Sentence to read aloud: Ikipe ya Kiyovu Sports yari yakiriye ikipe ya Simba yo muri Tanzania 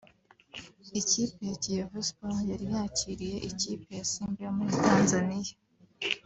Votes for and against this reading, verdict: 2, 0, accepted